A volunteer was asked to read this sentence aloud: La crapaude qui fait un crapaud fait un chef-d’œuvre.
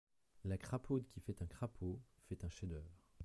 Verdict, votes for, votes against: accepted, 2, 1